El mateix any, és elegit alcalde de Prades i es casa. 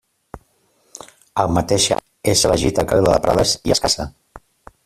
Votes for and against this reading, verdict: 0, 2, rejected